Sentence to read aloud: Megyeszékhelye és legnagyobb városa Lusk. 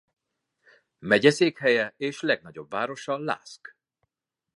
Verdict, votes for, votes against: accepted, 2, 0